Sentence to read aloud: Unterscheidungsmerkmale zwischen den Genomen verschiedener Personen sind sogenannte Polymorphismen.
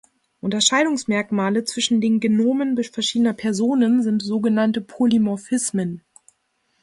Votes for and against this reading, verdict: 0, 2, rejected